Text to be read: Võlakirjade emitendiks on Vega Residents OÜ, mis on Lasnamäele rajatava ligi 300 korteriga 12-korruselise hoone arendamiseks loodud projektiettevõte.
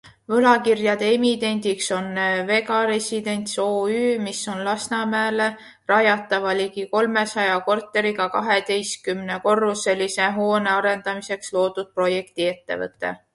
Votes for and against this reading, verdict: 0, 2, rejected